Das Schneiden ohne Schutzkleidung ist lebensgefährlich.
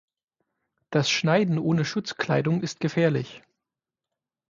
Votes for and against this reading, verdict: 3, 6, rejected